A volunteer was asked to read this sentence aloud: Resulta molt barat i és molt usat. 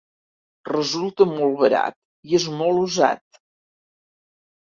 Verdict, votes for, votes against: accepted, 4, 0